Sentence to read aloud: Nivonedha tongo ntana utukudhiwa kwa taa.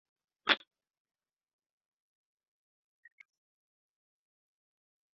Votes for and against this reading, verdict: 1, 2, rejected